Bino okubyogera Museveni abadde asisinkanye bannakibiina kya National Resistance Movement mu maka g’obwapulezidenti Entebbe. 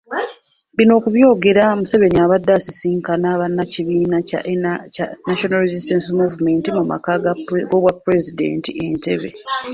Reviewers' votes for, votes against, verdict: 2, 1, accepted